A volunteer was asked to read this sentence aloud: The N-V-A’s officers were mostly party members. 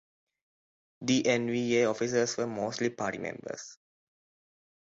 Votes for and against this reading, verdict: 0, 2, rejected